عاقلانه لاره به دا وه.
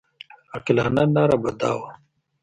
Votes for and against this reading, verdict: 2, 1, accepted